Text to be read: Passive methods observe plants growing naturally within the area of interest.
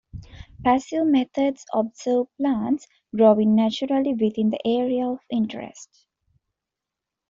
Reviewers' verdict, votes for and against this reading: accepted, 2, 0